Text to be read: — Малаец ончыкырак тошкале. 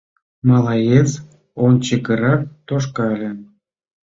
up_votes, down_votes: 2, 0